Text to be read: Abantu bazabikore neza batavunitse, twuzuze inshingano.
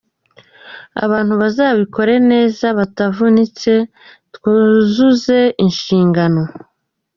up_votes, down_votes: 4, 1